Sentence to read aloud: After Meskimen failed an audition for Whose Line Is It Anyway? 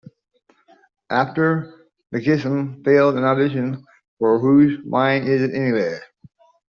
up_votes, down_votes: 0, 2